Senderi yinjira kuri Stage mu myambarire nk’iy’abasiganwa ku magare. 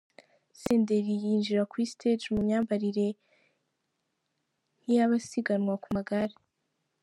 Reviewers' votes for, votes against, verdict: 2, 0, accepted